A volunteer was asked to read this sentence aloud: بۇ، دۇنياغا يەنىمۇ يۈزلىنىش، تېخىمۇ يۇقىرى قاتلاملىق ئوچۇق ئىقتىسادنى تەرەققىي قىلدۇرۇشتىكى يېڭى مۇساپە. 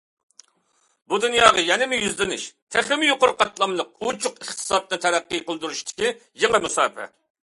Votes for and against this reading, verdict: 2, 0, accepted